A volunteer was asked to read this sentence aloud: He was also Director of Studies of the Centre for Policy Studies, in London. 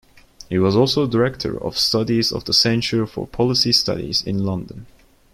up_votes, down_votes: 1, 2